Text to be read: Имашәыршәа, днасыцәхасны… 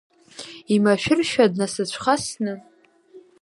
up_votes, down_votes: 2, 0